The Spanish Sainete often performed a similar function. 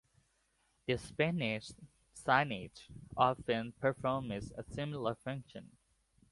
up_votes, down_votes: 0, 2